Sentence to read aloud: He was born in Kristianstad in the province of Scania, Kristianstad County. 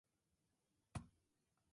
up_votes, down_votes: 0, 2